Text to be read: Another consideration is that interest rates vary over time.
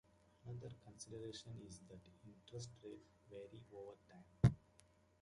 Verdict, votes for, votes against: rejected, 0, 2